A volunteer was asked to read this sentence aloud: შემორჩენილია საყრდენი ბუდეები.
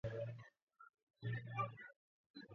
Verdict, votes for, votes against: rejected, 0, 2